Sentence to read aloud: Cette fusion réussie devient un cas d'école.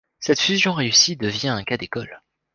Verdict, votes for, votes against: accepted, 2, 0